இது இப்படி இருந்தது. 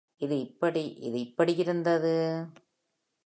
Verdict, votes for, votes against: rejected, 1, 2